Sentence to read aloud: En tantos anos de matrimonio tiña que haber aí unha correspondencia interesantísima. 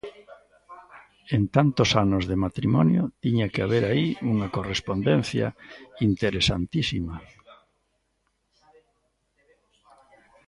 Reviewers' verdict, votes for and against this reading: rejected, 0, 2